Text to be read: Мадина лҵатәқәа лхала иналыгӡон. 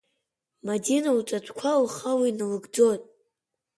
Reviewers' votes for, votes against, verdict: 2, 0, accepted